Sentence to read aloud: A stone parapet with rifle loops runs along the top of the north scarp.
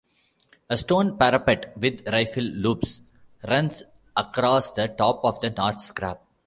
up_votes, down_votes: 0, 2